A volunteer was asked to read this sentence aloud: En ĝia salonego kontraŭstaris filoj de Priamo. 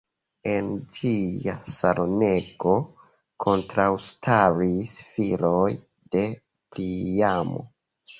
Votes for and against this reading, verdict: 0, 2, rejected